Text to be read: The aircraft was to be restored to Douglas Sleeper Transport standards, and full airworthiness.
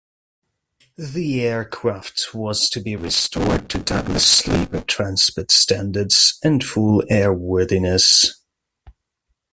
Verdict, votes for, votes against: rejected, 0, 2